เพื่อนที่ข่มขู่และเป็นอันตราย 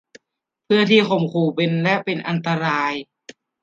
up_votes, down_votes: 0, 2